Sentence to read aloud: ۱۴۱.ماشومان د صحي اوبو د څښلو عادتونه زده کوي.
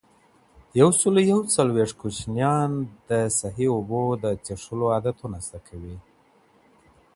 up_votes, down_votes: 0, 2